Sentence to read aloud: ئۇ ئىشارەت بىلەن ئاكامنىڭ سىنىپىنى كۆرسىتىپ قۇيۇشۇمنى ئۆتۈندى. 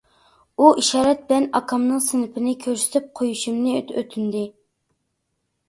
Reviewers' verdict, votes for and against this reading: rejected, 1, 2